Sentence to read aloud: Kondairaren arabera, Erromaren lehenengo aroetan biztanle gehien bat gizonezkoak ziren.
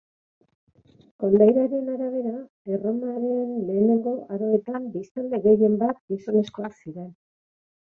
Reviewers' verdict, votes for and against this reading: rejected, 2, 2